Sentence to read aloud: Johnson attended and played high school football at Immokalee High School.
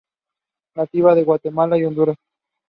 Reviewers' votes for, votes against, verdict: 0, 2, rejected